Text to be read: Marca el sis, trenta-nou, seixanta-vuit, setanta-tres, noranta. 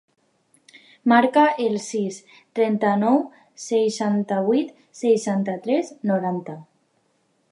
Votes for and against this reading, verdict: 2, 1, accepted